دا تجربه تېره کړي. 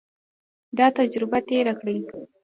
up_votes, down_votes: 1, 2